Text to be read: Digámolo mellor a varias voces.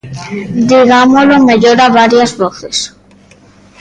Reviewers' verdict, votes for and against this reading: rejected, 1, 2